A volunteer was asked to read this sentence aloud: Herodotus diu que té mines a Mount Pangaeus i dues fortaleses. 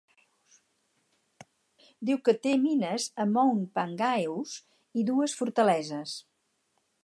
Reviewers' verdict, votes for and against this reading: rejected, 0, 4